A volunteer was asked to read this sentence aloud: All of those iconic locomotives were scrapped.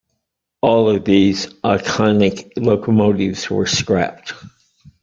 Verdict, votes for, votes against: rejected, 1, 2